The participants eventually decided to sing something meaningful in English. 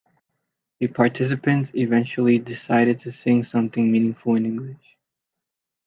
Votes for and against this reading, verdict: 0, 2, rejected